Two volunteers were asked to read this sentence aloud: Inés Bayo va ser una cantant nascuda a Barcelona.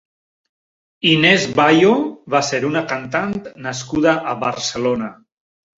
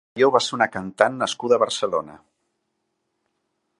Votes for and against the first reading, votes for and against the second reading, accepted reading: 3, 0, 0, 2, first